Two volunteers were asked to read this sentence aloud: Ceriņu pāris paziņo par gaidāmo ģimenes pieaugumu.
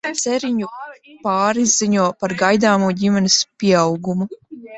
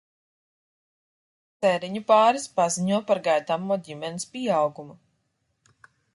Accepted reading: second